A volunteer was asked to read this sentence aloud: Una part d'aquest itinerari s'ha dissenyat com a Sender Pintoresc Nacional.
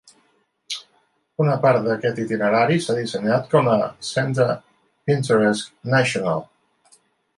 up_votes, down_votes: 0, 2